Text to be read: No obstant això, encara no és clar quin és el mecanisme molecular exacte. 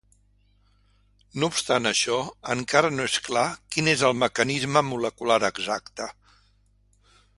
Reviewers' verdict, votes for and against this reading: accepted, 2, 0